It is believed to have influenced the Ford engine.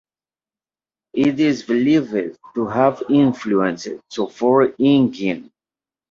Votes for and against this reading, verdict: 2, 0, accepted